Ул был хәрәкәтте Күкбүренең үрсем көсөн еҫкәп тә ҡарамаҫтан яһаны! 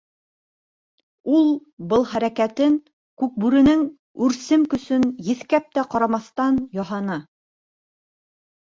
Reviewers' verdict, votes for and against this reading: rejected, 0, 2